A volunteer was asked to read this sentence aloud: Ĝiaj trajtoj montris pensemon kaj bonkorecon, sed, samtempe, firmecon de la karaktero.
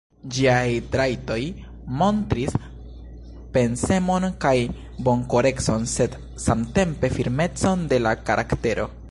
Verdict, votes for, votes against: accepted, 2, 0